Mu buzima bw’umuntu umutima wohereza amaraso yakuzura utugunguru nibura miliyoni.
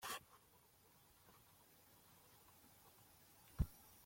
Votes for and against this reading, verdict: 0, 3, rejected